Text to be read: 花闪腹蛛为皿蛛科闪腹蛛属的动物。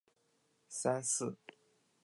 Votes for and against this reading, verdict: 0, 2, rejected